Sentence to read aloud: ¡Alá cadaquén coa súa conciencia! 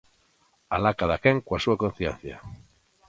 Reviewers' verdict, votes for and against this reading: accepted, 2, 0